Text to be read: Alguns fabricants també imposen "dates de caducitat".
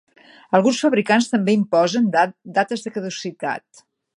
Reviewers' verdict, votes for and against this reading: rejected, 0, 2